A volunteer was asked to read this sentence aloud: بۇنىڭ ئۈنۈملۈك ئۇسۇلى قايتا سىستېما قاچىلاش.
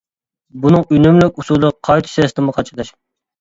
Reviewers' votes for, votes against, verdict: 2, 0, accepted